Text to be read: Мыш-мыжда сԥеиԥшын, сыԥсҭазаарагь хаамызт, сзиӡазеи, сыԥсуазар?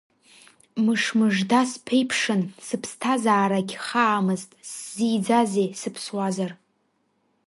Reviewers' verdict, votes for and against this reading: accepted, 2, 0